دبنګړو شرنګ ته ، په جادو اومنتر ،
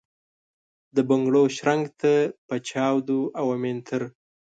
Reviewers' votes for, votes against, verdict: 2, 0, accepted